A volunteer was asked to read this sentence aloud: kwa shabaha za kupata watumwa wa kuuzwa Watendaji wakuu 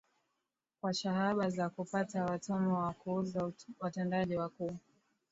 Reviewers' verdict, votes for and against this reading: rejected, 0, 2